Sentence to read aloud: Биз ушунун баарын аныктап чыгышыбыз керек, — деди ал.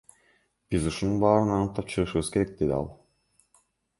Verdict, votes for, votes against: rejected, 1, 2